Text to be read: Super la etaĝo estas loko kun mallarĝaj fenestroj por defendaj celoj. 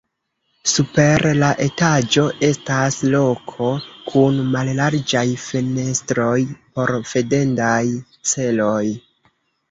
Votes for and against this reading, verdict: 2, 3, rejected